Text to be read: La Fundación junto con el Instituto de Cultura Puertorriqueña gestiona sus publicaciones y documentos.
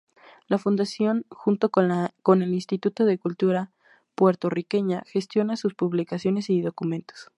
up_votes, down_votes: 0, 2